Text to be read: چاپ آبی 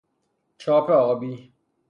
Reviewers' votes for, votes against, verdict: 3, 0, accepted